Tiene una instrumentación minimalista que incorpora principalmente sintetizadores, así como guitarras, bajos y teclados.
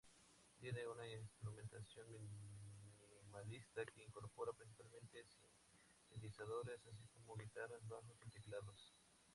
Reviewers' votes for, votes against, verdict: 0, 4, rejected